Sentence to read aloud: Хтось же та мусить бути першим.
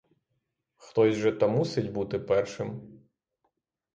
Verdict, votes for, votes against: accepted, 3, 0